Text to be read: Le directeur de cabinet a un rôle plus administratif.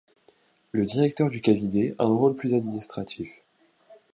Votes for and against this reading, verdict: 1, 2, rejected